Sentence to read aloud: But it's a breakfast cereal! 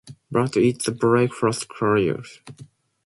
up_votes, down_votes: 2, 0